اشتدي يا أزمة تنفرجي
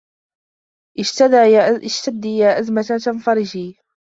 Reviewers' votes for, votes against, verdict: 0, 2, rejected